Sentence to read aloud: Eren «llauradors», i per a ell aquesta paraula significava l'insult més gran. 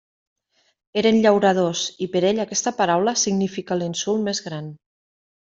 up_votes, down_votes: 0, 2